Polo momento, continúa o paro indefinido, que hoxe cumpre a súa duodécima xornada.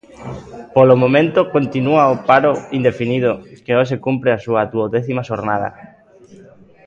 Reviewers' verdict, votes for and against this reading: rejected, 1, 2